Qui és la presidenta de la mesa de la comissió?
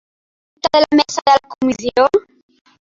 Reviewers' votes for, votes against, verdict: 0, 2, rejected